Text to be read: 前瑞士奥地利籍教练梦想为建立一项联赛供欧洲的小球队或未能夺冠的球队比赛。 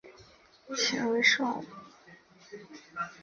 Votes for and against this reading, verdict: 3, 1, accepted